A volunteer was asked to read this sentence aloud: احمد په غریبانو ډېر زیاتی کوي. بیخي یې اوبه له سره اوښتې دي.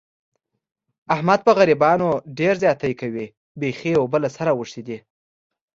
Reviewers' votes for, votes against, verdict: 2, 0, accepted